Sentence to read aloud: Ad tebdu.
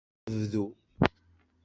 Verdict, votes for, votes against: rejected, 1, 2